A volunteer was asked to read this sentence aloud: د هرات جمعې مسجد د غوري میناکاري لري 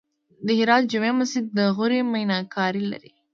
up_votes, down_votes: 1, 2